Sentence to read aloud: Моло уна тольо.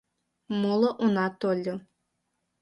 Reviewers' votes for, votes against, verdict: 2, 0, accepted